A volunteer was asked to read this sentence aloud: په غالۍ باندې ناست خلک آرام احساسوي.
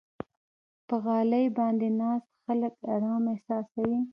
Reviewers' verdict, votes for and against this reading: accepted, 3, 2